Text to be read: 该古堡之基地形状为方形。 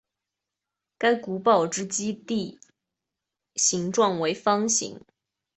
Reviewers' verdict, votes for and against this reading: accepted, 2, 0